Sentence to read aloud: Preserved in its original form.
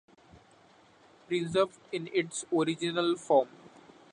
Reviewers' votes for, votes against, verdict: 2, 0, accepted